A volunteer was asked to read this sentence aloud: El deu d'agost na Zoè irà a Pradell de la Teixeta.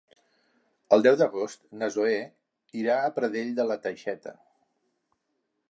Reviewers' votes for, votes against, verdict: 2, 0, accepted